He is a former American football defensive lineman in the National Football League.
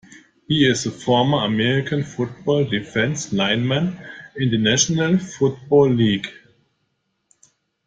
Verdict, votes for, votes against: rejected, 1, 2